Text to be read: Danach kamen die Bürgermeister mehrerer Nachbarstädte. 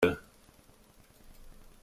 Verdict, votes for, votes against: rejected, 0, 2